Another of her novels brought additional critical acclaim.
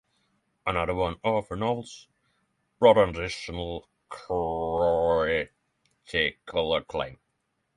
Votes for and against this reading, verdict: 0, 6, rejected